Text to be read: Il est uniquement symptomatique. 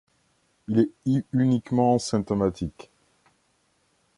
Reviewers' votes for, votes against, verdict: 1, 2, rejected